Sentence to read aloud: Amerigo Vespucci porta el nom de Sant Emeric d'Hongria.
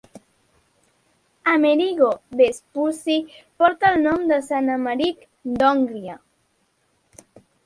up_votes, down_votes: 0, 2